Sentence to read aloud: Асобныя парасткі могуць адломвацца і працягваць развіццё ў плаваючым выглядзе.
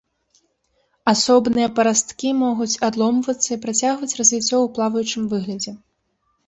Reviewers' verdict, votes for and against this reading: rejected, 0, 2